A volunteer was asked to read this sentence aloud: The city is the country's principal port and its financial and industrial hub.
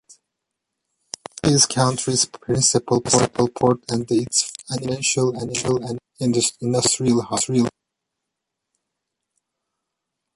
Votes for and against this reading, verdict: 0, 2, rejected